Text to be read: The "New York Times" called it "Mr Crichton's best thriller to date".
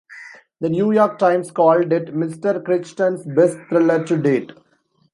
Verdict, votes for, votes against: accepted, 2, 0